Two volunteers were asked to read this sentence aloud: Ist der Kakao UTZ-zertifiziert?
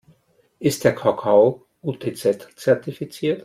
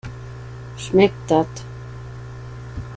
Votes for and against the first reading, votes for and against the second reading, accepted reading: 2, 0, 0, 2, first